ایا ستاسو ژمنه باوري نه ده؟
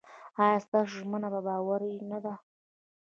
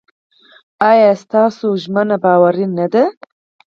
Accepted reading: second